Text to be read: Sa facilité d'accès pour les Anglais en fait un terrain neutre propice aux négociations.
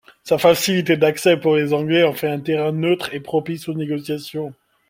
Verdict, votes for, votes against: accepted, 2, 0